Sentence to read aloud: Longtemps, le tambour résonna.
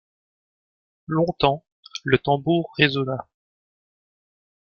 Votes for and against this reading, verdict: 1, 2, rejected